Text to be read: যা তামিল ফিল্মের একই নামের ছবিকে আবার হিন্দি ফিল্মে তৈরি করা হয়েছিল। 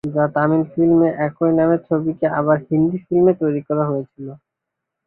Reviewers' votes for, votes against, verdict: 2, 2, rejected